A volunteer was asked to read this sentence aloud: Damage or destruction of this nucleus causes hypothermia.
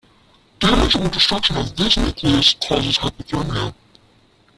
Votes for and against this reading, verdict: 0, 2, rejected